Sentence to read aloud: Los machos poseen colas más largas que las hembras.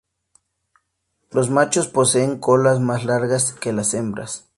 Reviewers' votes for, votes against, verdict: 6, 0, accepted